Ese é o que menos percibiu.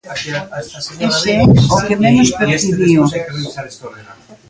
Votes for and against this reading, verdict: 0, 3, rejected